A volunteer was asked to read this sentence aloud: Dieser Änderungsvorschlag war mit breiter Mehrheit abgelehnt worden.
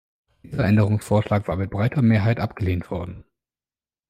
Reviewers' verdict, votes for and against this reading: rejected, 1, 2